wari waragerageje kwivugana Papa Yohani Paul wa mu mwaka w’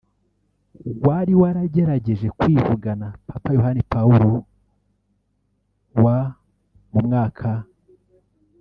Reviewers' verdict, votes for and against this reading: rejected, 0, 2